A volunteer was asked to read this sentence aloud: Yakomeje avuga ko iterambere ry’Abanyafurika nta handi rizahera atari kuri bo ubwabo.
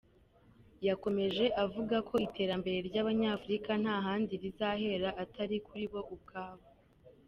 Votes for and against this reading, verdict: 2, 0, accepted